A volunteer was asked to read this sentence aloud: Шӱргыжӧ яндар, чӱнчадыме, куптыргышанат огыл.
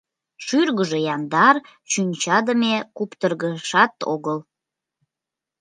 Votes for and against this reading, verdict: 1, 2, rejected